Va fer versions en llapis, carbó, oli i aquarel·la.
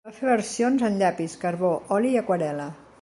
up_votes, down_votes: 2, 0